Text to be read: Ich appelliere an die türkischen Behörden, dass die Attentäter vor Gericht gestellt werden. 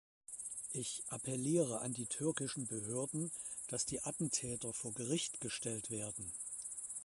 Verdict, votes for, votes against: accepted, 2, 0